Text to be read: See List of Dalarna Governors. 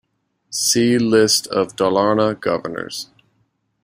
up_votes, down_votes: 2, 0